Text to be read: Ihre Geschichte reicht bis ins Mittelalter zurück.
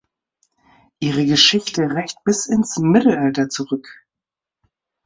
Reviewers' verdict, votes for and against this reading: accepted, 3, 0